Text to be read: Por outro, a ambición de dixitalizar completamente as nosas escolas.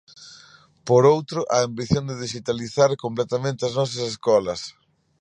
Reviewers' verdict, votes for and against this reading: accepted, 2, 0